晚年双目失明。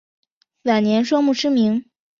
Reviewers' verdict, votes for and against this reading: accepted, 3, 0